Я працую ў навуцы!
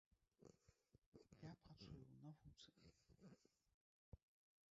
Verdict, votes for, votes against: rejected, 0, 2